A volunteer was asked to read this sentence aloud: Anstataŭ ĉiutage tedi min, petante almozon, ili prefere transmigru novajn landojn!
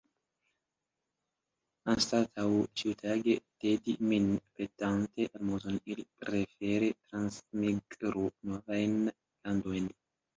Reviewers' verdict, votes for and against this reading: rejected, 0, 2